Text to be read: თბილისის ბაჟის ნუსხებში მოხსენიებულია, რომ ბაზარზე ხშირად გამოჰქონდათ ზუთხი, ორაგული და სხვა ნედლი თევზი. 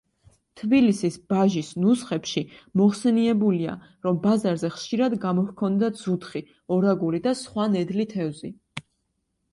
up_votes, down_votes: 2, 0